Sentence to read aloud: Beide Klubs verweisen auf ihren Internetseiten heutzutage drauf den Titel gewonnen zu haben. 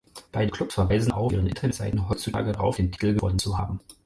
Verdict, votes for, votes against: rejected, 0, 4